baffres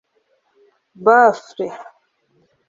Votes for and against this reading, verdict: 1, 2, rejected